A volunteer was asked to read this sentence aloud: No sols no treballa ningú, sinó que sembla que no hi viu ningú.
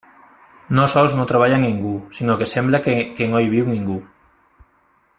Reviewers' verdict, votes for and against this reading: rejected, 0, 2